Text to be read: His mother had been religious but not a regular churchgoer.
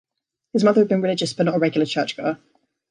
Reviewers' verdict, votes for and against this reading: accepted, 2, 0